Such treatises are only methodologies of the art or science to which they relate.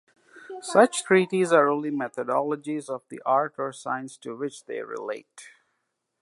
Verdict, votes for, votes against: rejected, 0, 2